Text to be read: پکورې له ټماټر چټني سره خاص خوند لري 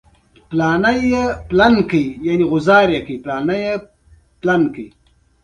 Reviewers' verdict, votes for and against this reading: rejected, 0, 2